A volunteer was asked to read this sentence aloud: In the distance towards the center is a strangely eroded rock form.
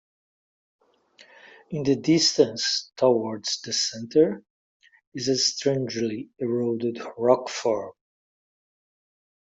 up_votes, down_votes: 2, 0